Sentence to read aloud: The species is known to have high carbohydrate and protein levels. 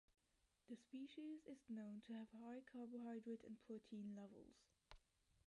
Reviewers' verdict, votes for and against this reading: rejected, 1, 2